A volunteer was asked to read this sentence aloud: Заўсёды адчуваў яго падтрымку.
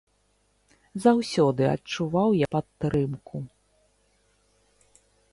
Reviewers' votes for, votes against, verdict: 0, 2, rejected